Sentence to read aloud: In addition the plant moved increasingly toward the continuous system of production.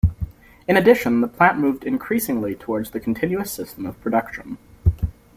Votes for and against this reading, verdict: 0, 2, rejected